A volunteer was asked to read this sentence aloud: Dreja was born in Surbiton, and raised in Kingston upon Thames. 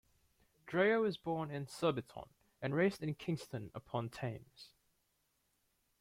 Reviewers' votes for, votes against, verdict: 2, 0, accepted